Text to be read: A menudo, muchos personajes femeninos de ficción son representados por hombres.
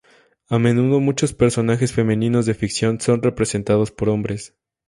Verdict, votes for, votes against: accepted, 2, 0